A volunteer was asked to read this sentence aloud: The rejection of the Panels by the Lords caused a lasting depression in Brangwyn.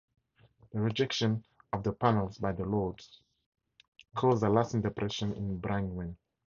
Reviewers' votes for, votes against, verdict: 4, 2, accepted